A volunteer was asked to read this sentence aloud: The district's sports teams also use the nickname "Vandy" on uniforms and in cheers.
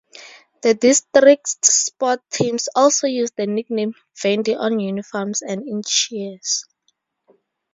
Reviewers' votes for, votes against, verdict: 0, 4, rejected